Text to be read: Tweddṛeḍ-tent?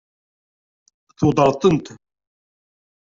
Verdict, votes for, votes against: rejected, 0, 2